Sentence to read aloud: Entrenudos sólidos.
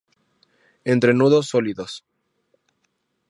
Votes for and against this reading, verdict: 2, 0, accepted